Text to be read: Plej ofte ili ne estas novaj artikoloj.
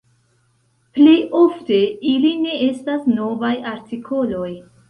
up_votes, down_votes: 1, 2